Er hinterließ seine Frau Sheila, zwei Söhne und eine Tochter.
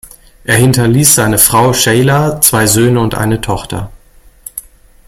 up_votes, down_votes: 1, 2